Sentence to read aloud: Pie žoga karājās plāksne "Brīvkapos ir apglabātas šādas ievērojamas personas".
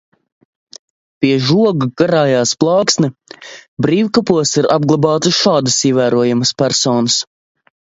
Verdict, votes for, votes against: accepted, 2, 0